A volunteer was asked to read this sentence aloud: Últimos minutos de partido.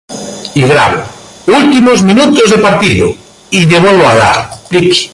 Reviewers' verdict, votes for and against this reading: rejected, 0, 2